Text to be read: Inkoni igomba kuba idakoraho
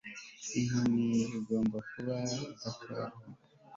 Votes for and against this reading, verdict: 2, 3, rejected